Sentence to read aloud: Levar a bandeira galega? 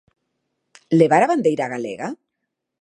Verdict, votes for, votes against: accepted, 2, 0